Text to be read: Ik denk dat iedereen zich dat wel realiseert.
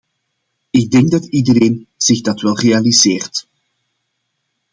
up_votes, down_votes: 2, 0